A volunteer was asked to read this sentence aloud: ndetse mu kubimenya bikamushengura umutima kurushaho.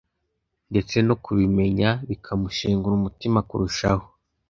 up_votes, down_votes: 2, 1